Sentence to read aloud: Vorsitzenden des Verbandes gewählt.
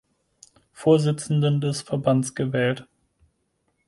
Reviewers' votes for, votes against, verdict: 2, 4, rejected